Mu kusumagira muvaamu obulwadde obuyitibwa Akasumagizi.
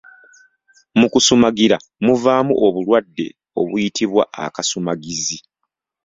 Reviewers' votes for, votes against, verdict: 2, 0, accepted